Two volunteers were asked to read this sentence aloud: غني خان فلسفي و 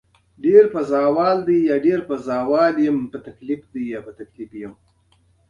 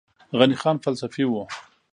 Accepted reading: second